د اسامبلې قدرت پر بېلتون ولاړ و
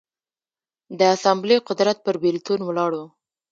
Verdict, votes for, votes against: rejected, 1, 2